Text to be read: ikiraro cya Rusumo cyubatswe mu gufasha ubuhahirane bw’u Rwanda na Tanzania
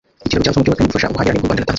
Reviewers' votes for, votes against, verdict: 1, 2, rejected